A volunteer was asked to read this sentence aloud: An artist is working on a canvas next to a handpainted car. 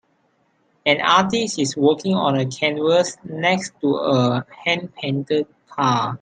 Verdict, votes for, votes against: accepted, 3, 0